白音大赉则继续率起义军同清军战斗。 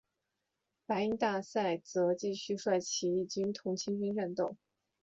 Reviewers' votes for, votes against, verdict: 1, 3, rejected